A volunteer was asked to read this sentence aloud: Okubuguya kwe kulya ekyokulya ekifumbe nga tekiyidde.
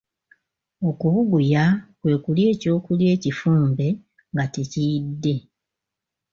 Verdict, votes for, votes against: accepted, 2, 0